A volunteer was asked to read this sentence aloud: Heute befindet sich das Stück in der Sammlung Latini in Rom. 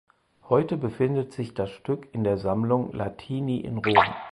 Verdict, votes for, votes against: rejected, 2, 4